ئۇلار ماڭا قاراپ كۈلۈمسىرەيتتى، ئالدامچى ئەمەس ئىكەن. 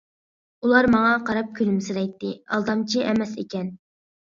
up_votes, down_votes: 2, 0